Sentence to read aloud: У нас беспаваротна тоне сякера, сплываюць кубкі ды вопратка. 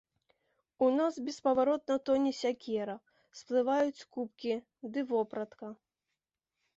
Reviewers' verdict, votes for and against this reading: accepted, 2, 0